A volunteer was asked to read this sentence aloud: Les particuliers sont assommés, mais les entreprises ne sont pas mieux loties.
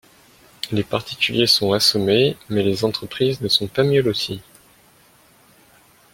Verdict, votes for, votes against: rejected, 0, 2